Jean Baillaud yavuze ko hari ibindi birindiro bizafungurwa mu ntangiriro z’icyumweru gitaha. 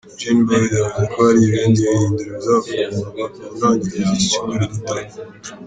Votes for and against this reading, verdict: 0, 2, rejected